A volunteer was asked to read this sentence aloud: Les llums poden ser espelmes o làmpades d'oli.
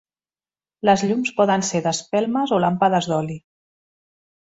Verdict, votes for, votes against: rejected, 0, 2